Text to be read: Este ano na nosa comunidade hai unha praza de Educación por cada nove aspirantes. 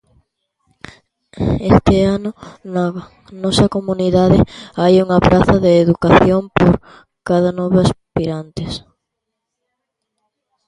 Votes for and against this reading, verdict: 0, 2, rejected